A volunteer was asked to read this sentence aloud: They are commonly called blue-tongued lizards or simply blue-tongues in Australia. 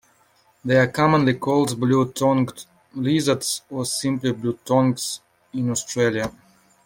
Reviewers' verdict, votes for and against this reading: accepted, 2, 0